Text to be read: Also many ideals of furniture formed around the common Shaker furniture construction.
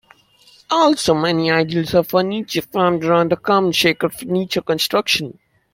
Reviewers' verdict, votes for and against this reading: rejected, 1, 2